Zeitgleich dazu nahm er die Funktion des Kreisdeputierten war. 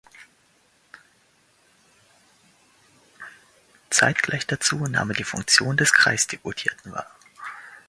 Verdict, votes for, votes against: accepted, 2, 0